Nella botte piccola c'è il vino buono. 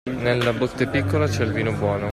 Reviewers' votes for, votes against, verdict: 2, 0, accepted